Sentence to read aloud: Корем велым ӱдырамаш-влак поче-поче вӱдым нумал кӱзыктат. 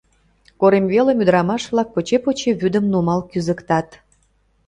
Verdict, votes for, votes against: accepted, 2, 0